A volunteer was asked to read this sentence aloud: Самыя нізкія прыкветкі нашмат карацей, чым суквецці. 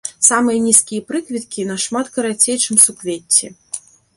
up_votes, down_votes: 2, 0